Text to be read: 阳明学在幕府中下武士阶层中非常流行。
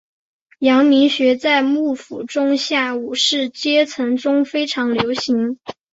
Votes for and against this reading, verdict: 2, 0, accepted